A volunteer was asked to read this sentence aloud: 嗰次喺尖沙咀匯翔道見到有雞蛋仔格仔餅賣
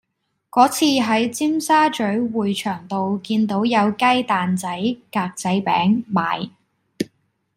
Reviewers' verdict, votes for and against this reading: accepted, 2, 0